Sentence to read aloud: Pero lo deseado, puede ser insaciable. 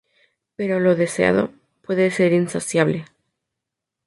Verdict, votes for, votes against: accepted, 2, 0